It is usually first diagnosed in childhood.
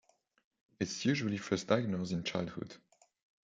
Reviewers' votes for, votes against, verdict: 1, 2, rejected